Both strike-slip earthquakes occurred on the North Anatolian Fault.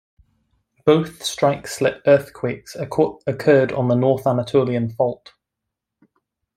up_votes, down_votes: 1, 2